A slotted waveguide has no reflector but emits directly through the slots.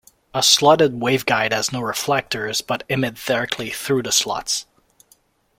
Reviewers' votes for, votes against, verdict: 0, 2, rejected